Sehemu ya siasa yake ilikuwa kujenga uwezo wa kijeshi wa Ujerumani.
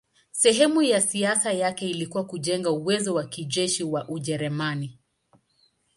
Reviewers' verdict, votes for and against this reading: accepted, 2, 0